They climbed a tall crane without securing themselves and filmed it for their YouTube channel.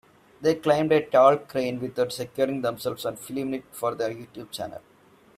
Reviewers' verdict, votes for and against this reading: rejected, 1, 2